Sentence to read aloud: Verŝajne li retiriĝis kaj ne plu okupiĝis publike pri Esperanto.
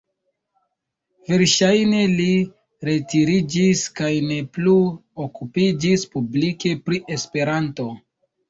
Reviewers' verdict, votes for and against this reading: accepted, 2, 0